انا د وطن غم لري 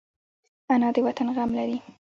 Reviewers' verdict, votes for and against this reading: accepted, 2, 1